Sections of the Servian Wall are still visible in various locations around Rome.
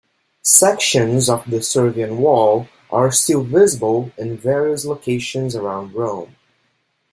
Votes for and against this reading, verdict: 2, 0, accepted